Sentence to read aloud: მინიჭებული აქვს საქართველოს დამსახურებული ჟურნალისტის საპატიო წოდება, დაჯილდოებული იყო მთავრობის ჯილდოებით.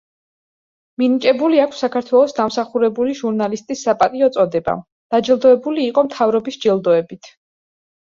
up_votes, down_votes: 2, 0